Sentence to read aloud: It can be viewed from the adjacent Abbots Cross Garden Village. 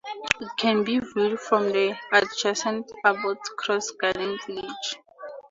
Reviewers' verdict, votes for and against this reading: accepted, 2, 0